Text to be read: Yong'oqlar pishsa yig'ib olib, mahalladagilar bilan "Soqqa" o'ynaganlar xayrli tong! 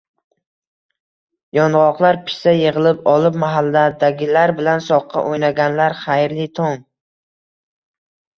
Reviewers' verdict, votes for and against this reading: rejected, 1, 2